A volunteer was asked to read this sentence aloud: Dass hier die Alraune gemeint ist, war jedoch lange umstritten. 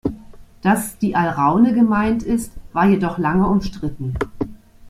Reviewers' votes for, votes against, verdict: 0, 2, rejected